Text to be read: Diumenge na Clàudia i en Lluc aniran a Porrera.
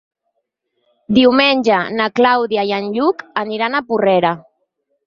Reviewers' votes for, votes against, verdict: 6, 0, accepted